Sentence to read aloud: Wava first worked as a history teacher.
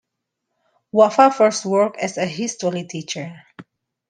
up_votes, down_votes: 2, 0